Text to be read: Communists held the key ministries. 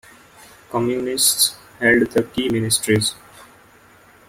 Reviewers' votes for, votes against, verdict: 0, 2, rejected